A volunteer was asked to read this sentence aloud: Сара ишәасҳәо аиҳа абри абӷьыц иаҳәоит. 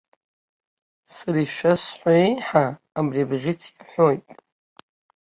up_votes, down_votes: 0, 2